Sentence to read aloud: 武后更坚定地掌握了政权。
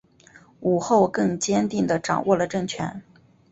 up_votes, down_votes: 3, 0